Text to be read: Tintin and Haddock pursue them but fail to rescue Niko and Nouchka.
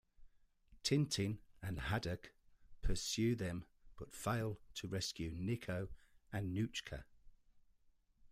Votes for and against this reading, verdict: 2, 0, accepted